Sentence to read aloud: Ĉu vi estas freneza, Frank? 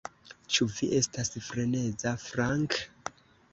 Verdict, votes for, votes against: accepted, 2, 0